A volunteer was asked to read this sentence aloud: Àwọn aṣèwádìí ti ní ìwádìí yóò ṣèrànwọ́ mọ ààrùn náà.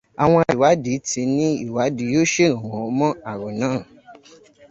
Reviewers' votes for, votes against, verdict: 0, 2, rejected